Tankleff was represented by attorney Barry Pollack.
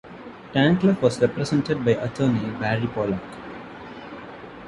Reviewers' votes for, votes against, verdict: 1, 2, rejected